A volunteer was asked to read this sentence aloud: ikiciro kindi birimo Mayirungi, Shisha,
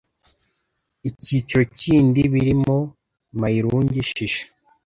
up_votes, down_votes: 2, 0